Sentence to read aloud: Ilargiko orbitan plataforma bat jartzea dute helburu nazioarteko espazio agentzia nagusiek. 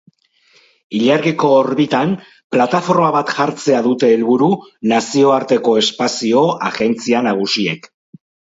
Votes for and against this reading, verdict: 4, 0, accepted